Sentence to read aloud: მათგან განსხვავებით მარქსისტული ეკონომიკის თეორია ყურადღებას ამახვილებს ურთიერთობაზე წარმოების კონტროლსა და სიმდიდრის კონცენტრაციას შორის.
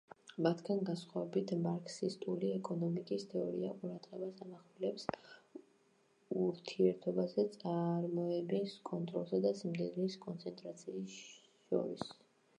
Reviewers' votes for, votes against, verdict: 2, 2, rejected